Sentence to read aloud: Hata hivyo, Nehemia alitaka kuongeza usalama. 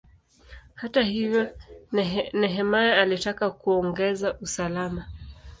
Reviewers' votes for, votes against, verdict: 2, 1, accepted